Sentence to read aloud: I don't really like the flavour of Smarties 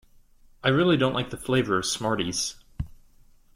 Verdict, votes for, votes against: rejected, 1, 2